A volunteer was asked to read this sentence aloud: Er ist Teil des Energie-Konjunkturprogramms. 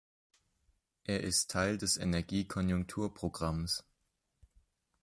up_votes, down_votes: 4, 0